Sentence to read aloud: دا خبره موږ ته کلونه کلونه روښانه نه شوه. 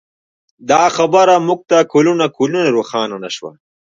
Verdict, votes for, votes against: rejected, 0, 2